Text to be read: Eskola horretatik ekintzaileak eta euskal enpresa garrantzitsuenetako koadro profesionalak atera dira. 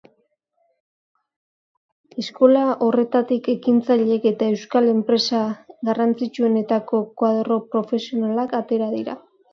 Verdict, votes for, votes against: accepted, 2, 0